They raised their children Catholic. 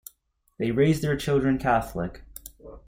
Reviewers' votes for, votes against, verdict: 2, 0, accepted